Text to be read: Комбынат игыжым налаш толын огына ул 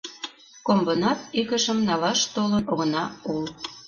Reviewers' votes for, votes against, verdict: 3, 2, accepted